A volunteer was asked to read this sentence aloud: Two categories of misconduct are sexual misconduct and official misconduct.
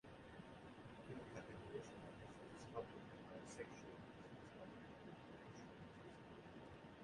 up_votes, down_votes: 0, 2